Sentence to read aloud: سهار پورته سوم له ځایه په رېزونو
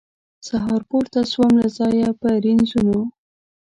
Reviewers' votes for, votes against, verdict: 1, 2, rejected